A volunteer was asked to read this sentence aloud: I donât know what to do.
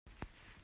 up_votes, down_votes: 0, 2